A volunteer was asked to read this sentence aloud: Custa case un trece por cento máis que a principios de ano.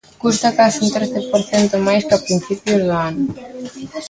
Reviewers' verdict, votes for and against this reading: rejected, 0, 2